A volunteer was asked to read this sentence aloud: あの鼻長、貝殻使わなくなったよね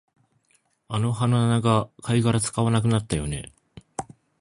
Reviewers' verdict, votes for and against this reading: accepted, 3, 1